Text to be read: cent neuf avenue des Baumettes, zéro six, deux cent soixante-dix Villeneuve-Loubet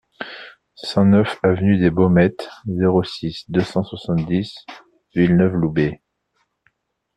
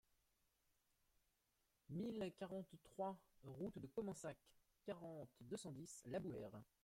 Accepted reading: first